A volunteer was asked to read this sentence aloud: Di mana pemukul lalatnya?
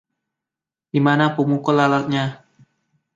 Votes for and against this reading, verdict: 2, 0, accepted